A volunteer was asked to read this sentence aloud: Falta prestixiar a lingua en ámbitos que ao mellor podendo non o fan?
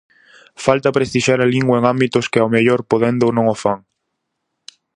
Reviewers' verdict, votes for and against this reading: accepted, 4, 0